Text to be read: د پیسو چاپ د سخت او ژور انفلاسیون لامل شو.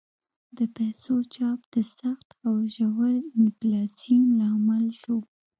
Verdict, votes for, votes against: rejected, 1, 2